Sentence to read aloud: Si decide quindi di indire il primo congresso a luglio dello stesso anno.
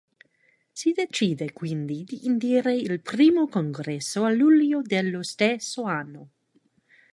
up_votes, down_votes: 2, 1